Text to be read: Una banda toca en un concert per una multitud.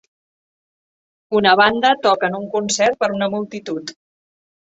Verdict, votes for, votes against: accepted, 6, 0